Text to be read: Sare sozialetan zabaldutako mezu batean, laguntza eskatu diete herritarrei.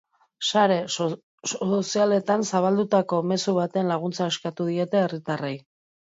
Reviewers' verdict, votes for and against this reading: rejected, 0, 2